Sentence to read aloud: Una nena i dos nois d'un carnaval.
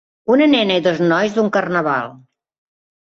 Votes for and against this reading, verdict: 2, 0, accepted